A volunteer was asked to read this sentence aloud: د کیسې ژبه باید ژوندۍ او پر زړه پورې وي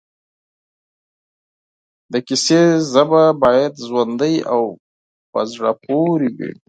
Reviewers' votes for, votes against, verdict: 8, 2, accepted